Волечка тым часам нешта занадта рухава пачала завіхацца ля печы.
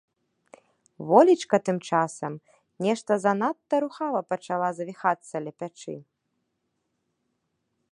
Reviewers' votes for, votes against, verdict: 0, 2, rejected